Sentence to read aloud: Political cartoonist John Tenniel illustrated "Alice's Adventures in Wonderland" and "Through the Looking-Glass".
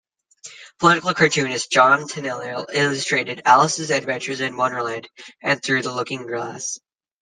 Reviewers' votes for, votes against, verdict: 1, 2, rejected